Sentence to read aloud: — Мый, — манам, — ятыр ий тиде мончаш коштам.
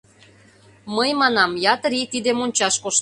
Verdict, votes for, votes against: rejected, 0, 2